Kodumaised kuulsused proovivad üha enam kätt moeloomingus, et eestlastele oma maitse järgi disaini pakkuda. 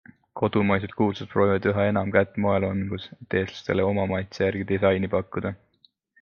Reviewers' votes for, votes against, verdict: 2, 0, accepted